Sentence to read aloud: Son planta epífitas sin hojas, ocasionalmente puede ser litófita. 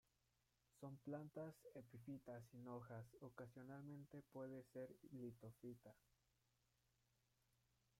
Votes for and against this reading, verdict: 1, 2, rejected